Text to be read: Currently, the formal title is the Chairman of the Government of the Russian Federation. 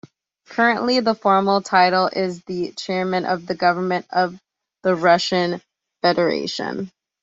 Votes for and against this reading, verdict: 2, 0, accepted